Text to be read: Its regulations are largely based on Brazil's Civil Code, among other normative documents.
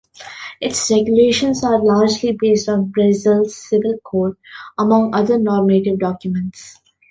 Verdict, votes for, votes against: rejected, 0, 2